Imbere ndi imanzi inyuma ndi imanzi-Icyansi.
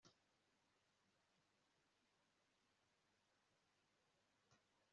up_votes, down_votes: 1, 2